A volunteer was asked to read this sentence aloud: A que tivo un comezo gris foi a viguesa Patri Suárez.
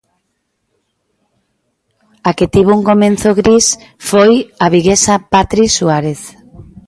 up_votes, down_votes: 0, 2